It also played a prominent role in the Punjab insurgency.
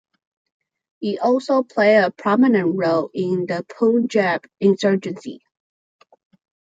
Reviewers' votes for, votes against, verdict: 2, 0, accepted